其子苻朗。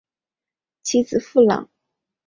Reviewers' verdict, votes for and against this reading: accepted, 2, 0